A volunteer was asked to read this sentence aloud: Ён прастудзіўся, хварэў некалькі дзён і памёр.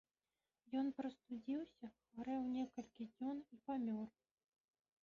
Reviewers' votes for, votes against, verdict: 0, 2, rejected